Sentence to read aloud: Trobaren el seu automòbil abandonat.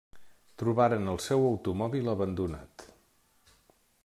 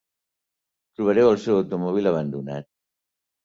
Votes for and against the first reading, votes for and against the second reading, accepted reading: 3, 0, 2, 3, first